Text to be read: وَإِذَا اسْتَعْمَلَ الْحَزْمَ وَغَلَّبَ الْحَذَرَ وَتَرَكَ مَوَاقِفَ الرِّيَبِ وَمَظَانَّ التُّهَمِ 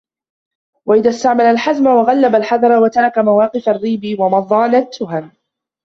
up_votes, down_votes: 0, 2